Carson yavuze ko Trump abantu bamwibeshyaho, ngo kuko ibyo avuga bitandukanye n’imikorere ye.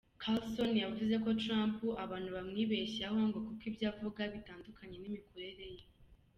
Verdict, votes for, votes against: accepted, 2, 1